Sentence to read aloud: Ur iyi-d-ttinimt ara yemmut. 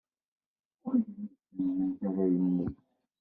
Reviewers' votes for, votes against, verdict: 0, 2, rejected